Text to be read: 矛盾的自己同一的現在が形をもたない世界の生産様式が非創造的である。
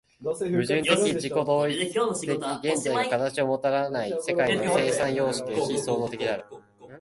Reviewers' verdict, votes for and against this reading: rejected, 1, 5